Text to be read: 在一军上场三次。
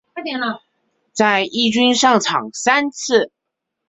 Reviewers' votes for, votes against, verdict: 2, 0, accepted